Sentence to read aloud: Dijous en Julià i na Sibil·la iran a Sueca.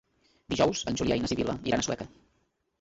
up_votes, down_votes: 1, 2